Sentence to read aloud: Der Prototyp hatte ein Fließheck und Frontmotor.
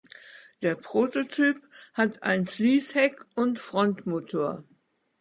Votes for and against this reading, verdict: 0, 2, rejected